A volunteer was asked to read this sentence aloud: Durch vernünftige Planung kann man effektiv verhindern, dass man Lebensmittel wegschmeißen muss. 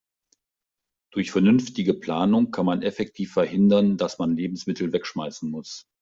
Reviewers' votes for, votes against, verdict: 2, 0, accepted